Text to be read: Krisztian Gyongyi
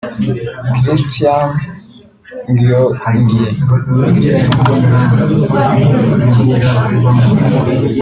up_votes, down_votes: 2, 3